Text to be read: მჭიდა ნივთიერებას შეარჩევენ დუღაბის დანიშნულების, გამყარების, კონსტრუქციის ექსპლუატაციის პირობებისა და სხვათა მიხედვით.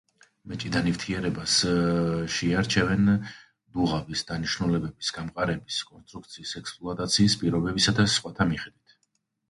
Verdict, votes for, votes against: rejected, 1, 2